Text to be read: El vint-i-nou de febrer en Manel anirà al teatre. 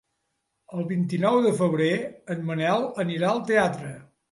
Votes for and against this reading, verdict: 2, 0, accepted